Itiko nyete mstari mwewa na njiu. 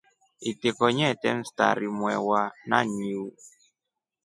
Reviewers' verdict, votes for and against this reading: accepted, 2, 0